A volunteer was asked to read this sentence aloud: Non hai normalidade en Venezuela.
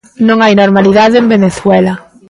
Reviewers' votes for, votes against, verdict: 2, 0, accepted